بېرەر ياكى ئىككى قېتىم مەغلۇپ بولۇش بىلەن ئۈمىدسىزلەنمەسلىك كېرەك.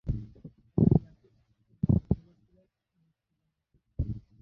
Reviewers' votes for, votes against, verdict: 0, 2, rejected